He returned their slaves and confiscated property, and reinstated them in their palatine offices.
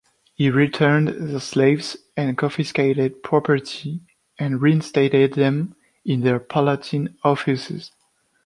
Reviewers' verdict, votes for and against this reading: accepted, 2, 1